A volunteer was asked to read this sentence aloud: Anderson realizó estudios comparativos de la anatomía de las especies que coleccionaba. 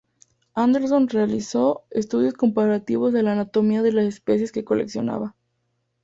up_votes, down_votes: 2, 0